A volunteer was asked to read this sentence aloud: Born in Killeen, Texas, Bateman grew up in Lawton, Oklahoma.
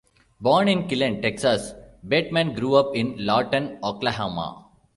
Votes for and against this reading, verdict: 2, 1, accepted